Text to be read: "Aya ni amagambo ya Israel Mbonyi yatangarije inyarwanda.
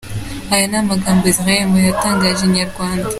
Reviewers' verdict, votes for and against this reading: accepted, 2, 0